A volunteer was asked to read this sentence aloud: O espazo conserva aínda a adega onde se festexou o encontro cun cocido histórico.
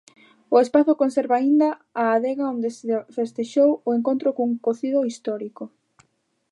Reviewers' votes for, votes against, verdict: 0, 2, rejected